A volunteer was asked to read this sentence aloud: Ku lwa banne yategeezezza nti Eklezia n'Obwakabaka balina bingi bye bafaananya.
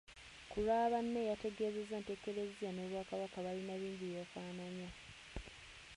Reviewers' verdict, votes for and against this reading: rejected, 1, 2